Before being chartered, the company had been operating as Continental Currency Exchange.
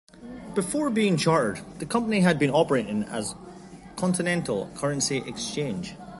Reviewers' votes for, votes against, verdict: 2, 0, accepted